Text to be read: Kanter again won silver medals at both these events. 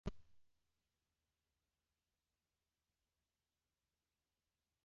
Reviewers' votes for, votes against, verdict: 0, 2, rejected